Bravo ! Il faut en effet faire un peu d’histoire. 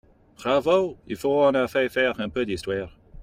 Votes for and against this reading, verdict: 2, 0, accepted